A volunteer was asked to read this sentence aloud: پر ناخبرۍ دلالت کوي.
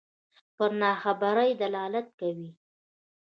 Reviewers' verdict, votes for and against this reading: rejected, 1, 2